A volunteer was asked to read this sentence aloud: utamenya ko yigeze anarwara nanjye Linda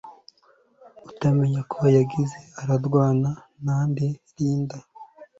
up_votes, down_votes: 2, 3